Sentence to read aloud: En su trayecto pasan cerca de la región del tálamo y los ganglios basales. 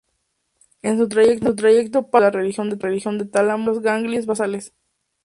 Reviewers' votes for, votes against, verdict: 0, 2, rejected